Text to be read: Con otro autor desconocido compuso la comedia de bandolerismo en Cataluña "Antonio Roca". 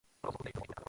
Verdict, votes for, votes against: rejected, 0, 2